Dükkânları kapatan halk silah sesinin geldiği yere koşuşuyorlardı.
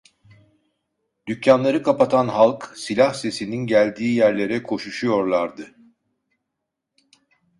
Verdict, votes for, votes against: rejected, 0, 2